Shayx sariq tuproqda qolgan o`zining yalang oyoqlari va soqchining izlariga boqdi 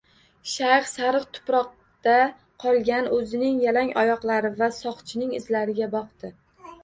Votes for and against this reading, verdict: 1, 2, rejected